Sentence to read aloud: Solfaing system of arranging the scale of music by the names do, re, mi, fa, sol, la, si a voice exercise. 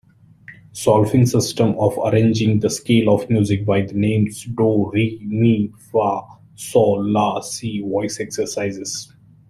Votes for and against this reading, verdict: 1, 2, rejected